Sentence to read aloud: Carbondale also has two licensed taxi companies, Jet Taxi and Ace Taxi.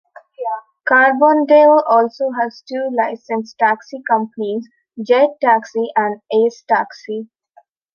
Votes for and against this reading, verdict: 2, 0, accepted